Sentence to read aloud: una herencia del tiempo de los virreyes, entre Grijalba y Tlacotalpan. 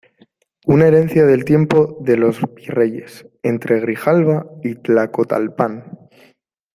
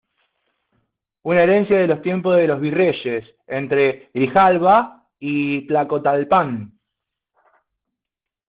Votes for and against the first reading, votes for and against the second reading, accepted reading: 2, 0, 1, 2, first